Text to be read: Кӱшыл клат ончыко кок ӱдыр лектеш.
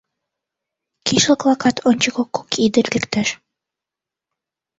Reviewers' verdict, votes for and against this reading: rejected, 1, 2